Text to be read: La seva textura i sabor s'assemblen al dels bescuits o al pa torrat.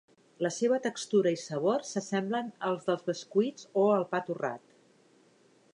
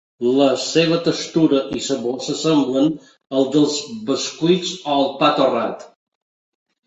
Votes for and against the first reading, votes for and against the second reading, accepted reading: 1, 2, 2, 0, second